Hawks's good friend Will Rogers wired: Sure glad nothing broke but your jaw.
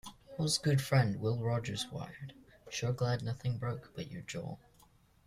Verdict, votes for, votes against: rejected, 0, 2